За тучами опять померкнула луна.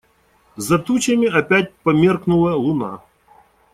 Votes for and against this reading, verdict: 2, 0, accepted